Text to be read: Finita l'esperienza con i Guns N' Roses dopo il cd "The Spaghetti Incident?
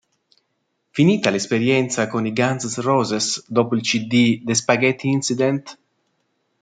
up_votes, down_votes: 2, 0